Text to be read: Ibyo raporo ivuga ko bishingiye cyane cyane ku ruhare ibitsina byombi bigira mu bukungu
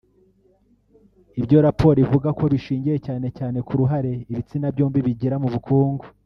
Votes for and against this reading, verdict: 1, 2, rejected